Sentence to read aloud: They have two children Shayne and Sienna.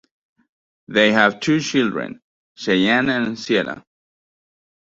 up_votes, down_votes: 2, 0